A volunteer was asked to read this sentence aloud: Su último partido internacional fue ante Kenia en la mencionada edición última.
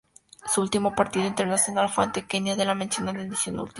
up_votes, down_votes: 4, 0